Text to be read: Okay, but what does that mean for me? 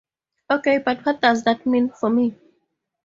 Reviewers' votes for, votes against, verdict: 4, 0, accepted